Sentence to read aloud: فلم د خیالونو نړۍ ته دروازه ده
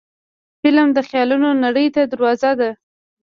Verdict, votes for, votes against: accepted, 2, 0